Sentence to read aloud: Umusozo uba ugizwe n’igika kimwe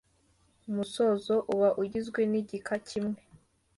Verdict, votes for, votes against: accepted, 2, 0